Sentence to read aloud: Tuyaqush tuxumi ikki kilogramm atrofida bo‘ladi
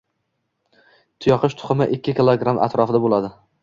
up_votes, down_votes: 2, 0